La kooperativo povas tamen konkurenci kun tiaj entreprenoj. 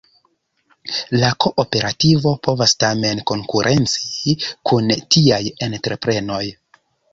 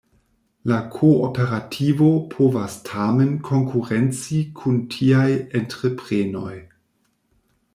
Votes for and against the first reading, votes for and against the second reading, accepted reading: 1, 2, 2, 0, second